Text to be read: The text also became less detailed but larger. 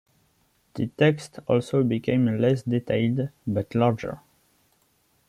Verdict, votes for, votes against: accepted, 2, 1